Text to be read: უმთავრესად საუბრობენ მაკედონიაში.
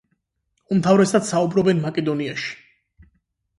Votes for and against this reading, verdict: 8, 0, accepted